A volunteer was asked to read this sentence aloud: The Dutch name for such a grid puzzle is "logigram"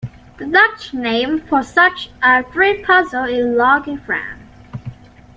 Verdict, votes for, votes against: accepted, 2, 0